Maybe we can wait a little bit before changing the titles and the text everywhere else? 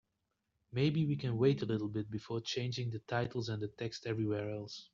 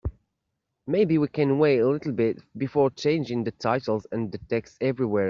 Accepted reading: first